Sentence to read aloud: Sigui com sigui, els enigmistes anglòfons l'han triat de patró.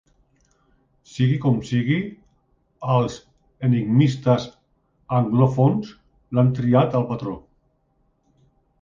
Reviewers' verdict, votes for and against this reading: rejected, 1, 2